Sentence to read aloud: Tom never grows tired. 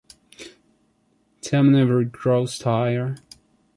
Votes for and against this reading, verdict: 0, 2, rejected